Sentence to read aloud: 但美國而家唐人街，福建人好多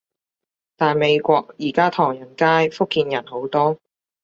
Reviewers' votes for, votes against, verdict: 2, 0, accepted